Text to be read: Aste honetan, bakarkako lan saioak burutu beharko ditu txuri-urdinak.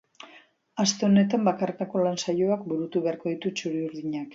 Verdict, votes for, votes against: accepted, 2, 0